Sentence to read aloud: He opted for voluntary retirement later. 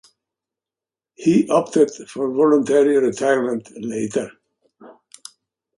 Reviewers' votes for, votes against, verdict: 2, 0, accepted